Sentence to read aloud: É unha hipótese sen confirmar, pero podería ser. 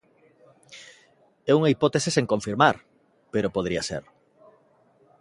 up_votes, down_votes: 2, 0